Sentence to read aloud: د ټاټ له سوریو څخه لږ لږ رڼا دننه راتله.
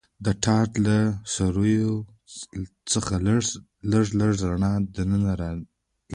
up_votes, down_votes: 0, 2